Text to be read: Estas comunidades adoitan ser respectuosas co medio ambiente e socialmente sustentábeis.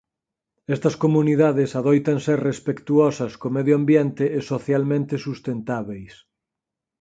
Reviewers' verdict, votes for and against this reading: accepted, 4, 0